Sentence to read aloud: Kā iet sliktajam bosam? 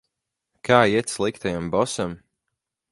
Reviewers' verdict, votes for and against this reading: accepted, 4, 0